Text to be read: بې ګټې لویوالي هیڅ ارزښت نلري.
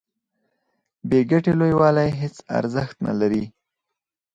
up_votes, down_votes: 2, 2